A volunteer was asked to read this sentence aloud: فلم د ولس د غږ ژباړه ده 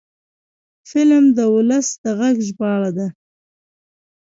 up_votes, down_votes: 2, 1